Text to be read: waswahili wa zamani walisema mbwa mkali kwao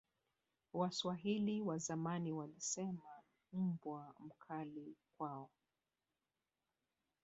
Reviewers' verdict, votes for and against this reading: accepted, 3, 0